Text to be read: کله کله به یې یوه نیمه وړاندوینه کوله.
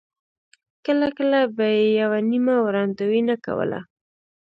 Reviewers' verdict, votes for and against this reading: accepted, 2, 1